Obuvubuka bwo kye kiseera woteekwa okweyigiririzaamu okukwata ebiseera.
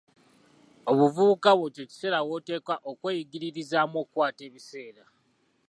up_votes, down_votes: 2, 0